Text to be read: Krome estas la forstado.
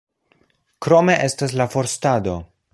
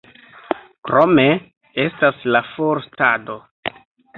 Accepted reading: first